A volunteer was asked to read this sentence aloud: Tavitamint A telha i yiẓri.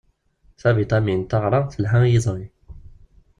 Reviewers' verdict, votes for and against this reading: rejected, 0, 2